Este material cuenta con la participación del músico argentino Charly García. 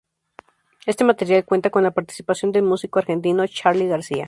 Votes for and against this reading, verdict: 0, 2, rejected